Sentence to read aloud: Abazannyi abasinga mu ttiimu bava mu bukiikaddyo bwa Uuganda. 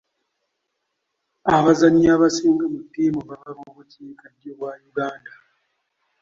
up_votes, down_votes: 2, 1